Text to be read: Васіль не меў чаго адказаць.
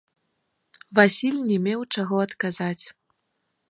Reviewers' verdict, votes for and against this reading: accepted, 2, 1